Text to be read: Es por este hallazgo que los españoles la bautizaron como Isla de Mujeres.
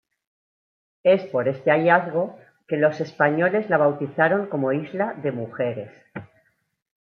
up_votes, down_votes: 2, 1